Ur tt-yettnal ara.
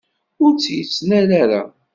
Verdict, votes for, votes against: accepted, 2, 0